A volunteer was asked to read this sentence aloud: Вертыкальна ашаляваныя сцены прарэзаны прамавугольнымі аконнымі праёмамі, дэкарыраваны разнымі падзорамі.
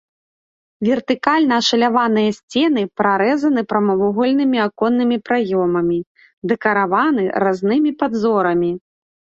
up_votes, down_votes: 2, 0